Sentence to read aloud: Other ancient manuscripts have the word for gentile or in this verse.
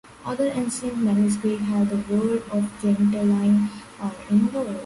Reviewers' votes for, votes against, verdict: 0, 2, rejected